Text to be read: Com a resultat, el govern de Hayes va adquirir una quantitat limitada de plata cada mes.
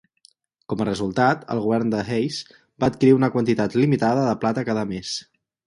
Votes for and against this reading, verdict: 4, 0, accepted